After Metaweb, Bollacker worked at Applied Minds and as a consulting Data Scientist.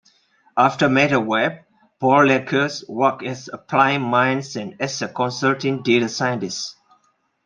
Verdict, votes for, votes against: rejected, 1, 2